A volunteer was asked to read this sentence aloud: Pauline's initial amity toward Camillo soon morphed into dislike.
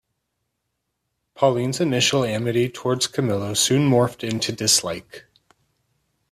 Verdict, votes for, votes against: accepted, 2, 0